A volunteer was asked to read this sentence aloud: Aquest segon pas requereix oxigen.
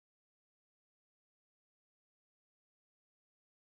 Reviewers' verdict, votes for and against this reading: rejected, 0, 2